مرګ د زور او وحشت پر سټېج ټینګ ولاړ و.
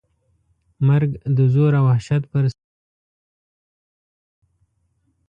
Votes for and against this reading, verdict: 0, 2, rejected